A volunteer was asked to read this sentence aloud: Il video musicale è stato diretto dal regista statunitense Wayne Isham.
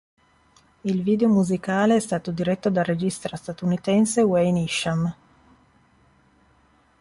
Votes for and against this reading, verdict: 0, 2, rejected